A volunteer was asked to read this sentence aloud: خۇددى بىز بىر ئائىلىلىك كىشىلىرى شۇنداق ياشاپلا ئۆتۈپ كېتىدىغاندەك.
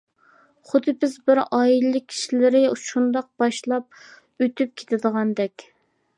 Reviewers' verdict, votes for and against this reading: rejected, 0, 2